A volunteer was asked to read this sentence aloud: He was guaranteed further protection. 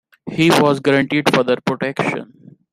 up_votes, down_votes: 2, 0